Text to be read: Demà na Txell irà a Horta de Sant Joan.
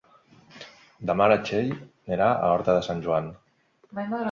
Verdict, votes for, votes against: rejected, 1, 2